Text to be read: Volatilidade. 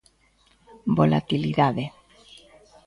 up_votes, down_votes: 2, 0